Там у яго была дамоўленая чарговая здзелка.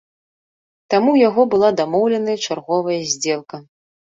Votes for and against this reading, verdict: 1, 2, rejected